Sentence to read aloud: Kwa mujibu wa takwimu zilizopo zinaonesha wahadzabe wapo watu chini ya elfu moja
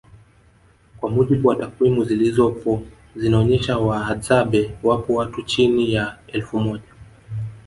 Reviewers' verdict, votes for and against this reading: accepted, 2, 0